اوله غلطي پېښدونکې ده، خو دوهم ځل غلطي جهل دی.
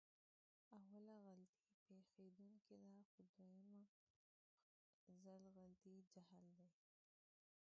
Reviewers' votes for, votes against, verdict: 1, 2, rejected